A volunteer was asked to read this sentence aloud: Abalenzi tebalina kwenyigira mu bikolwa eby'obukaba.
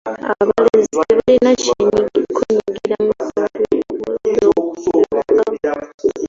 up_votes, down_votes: 0, 2